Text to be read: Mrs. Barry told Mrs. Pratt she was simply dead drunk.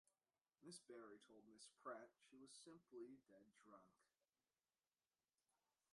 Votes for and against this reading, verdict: 1, 2, rejected